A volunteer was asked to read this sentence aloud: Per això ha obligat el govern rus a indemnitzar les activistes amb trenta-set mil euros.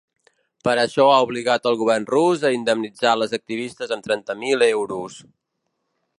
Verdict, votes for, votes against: rejected, 1, 2